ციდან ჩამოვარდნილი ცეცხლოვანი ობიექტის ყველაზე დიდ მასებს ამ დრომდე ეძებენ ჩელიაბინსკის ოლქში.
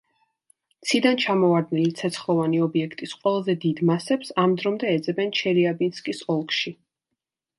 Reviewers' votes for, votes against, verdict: 2, 0, accepted